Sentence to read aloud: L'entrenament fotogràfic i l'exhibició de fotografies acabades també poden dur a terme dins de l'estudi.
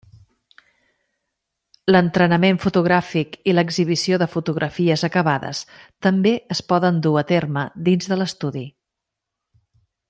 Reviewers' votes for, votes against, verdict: 1, 2, rejected